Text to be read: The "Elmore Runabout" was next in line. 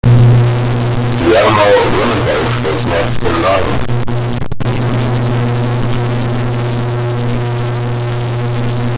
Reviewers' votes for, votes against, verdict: 0, 2, rejected